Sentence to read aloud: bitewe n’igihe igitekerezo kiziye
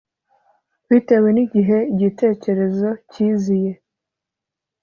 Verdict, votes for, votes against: accepted, 2, 0